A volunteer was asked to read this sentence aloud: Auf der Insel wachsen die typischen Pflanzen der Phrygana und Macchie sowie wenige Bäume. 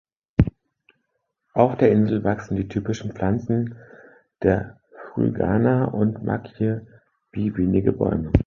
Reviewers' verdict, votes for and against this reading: rejected, 0, 2